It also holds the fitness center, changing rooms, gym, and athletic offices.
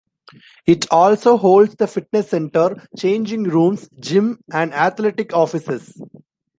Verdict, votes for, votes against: accepted, 2, 0